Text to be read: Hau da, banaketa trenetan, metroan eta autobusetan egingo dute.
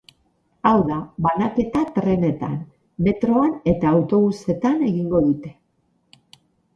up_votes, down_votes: 4, 0